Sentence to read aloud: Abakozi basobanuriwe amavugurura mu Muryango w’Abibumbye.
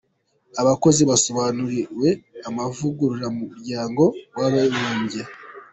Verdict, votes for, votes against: accepted, 2, 1